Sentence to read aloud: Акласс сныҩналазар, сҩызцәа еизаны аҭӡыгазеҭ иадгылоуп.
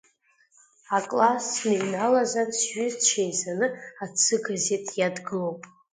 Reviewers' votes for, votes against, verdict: 2, 1, accepted